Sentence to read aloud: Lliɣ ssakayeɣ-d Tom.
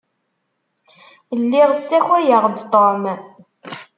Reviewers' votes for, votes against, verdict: 2, 0, accepted